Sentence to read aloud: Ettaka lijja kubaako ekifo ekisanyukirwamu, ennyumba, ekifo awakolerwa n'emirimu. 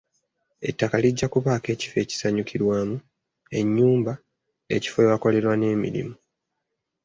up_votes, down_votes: 3, 1